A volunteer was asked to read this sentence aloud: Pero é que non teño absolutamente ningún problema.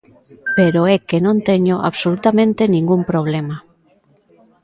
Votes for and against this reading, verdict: 1, 2, rejected